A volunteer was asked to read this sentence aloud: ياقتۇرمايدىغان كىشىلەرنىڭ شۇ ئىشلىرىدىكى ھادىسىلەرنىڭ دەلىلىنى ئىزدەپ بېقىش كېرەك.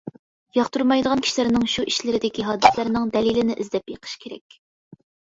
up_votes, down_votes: 2, 0